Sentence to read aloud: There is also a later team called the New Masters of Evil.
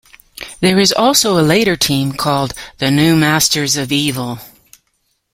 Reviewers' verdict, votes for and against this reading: accepted, 2, 0